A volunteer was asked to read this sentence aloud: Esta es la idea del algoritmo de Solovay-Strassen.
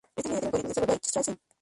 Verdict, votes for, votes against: rejected, 0, 2